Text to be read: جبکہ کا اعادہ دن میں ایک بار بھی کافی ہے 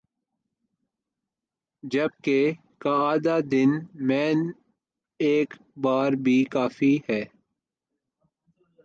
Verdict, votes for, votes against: rejected, 1, 2